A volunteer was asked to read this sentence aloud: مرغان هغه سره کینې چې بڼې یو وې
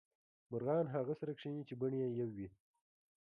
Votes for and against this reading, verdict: 0, 2, rejected